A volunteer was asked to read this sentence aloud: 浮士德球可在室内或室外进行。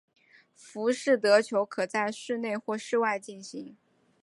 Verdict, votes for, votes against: accepted, 2, 0